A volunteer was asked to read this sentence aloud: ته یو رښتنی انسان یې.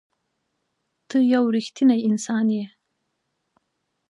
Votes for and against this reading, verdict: 2, 0, accepted